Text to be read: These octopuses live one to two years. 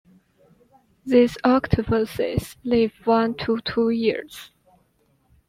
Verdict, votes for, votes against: accepted, 2, 0